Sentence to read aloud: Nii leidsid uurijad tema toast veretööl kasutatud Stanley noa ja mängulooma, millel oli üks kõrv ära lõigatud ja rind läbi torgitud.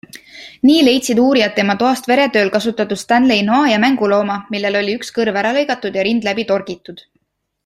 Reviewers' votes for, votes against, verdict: 2, 0, accepted